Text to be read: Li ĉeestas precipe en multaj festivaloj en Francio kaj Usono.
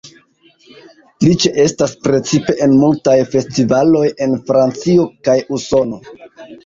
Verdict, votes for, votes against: accepted, 2, 0